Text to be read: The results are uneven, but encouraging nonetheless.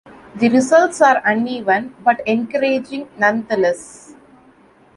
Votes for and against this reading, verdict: 2, 0, accepted